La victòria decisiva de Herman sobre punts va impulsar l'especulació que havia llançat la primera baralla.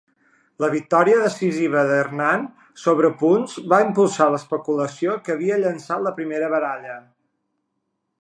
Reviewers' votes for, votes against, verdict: 1, 2, rejected